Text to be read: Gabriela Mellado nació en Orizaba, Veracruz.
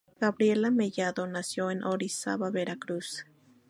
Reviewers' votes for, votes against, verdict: 2, 0, accepted